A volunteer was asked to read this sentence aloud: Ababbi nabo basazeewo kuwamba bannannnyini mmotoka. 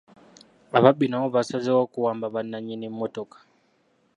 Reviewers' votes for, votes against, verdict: 2, 0, accepted